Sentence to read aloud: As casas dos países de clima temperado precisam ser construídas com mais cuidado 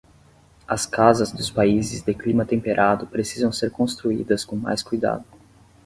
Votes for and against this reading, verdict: 10, 0, accepted